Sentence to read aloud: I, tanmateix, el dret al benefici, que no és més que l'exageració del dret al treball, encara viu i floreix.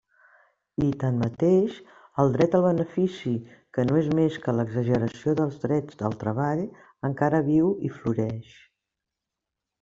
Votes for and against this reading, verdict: 1, 2, rejected